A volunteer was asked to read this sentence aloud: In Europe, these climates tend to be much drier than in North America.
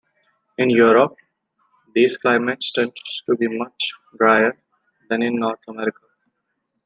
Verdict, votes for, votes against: accepted, 2, 0